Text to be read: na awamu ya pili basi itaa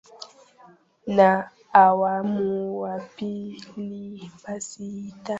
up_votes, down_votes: 1, 3